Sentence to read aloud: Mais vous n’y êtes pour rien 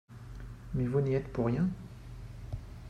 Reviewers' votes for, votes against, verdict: 3, 0, accepted